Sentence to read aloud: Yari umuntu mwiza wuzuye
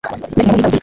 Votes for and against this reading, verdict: 0, 3, rejected